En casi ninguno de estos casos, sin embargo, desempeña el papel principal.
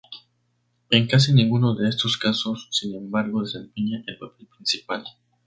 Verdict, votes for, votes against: rejected, 2, 2